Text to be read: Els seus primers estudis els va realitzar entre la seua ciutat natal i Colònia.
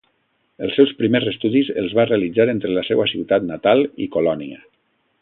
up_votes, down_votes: 2, 0